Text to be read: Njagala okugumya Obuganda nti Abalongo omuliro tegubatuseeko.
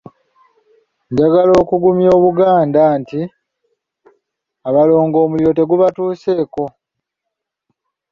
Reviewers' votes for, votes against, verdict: 2, 0, accepted